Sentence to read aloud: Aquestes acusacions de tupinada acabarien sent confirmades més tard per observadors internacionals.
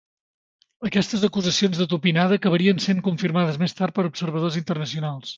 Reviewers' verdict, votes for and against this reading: accepted, 2, 0